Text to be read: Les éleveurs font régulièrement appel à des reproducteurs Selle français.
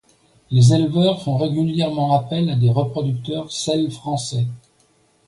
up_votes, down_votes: 2, 0